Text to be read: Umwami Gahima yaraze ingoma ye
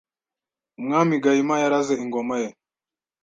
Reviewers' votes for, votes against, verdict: 2, 0, accepted